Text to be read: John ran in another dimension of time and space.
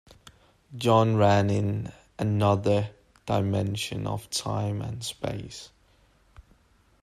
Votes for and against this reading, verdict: 2, 0, accepted